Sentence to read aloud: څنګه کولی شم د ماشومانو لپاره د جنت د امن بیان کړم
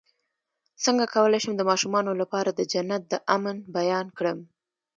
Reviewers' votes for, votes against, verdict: 1, 2, rejected